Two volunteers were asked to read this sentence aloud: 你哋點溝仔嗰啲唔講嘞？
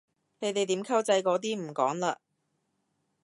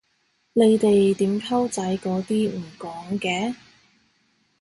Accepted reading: first